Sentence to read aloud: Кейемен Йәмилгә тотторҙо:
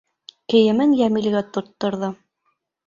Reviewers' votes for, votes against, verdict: 2, 0, accepted